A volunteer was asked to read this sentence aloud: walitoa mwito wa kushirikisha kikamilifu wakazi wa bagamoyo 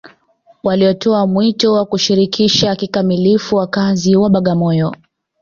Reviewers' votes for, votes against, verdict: 1, 2, rejected